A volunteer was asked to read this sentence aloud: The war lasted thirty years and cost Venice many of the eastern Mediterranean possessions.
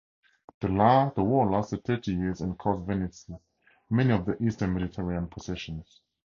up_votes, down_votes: 2, 2